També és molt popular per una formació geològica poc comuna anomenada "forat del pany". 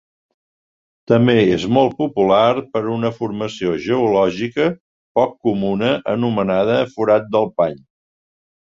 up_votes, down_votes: 2, 0